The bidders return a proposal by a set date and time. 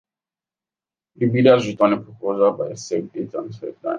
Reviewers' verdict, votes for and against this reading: accepted, 2, 1